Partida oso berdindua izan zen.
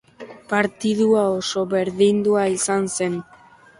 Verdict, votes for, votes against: rejected, 1, 2